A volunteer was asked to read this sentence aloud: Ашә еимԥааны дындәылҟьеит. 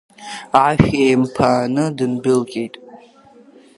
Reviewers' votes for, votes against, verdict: 2, 1, accepted